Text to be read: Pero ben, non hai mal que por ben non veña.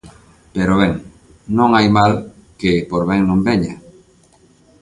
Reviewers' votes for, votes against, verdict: 2, 0, accepted